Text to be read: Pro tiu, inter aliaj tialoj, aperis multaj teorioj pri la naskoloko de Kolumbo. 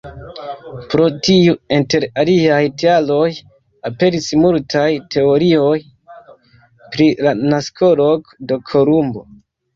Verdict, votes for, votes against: rejected, 0, 2